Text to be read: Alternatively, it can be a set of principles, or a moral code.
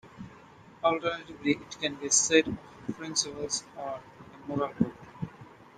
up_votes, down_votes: 0, 2